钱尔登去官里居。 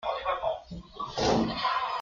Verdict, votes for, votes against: rejected, 0, 2